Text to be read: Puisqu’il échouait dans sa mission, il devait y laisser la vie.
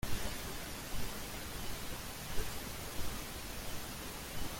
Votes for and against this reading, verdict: 0, 2, rejected